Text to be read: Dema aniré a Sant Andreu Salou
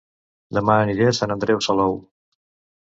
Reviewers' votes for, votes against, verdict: 2, 0, accepted